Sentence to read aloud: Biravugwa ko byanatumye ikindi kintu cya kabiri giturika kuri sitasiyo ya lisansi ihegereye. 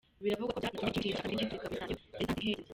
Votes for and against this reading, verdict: 0, 2, rejected